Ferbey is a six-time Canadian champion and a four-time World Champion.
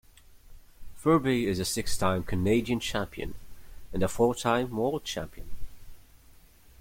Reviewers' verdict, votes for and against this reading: accepted, 2, 0